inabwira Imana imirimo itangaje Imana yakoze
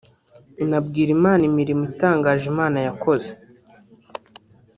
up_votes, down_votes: 1, 2